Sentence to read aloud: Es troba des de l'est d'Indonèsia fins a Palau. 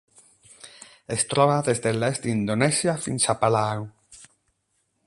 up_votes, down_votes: 8, 4